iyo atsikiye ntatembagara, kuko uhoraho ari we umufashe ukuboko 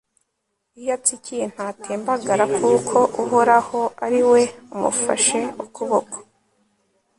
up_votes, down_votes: 2, 0